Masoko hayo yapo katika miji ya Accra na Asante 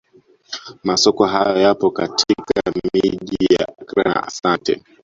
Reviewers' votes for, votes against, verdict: 0, 2, rejected